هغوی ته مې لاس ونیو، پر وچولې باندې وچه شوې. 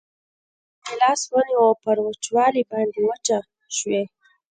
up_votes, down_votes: 1, 2